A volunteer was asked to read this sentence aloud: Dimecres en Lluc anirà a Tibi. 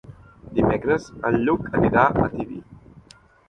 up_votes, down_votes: 3, 0